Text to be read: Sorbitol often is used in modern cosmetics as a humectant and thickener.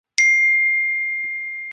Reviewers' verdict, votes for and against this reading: rejected, 0, 2